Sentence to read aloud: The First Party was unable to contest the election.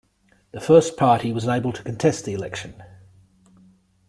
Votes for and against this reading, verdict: 2, 1, accepted